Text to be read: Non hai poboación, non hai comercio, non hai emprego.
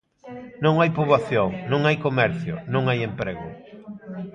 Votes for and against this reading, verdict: 2, 0, accepted